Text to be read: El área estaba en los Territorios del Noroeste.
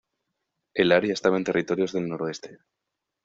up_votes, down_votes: 1, 2